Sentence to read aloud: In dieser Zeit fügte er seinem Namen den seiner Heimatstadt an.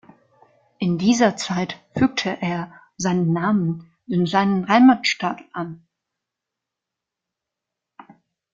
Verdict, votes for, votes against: rejected, 0, 2